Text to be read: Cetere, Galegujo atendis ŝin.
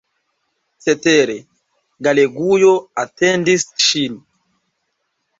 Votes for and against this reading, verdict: 2, 0, accepted